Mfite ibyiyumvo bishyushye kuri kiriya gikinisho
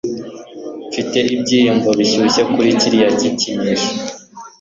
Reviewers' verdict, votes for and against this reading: accepted, 2, 0